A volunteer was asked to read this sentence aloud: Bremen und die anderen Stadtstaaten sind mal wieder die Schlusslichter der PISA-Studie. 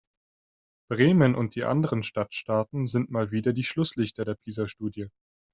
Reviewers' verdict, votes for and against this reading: accepted, 2, 0